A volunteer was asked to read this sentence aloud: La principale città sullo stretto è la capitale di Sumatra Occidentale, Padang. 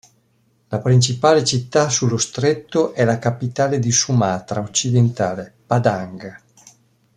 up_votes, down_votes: 2, 0